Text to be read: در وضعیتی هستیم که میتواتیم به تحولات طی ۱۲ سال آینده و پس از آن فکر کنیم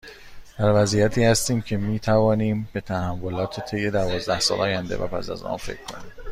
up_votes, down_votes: 0, 2